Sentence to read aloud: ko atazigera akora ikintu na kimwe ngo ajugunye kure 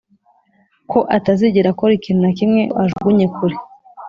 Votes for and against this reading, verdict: 2, 0, accepted